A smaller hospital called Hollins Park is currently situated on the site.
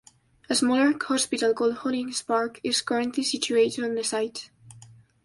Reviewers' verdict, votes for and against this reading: accepted, 2, 1